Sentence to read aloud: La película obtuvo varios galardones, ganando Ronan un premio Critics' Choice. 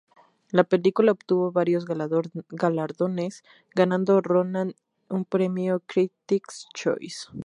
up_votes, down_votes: 0, 2